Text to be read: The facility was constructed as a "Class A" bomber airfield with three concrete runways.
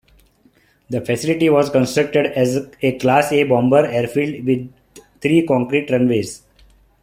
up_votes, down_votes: 2, 0